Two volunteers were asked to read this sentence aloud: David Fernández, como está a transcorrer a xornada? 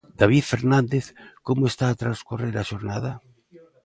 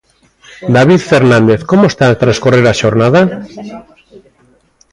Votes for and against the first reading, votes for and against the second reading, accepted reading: 2, 0, 1, 2, first